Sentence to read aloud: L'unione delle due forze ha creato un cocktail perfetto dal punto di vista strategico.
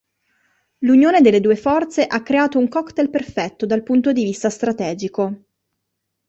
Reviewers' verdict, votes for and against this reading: accepted, 2, 0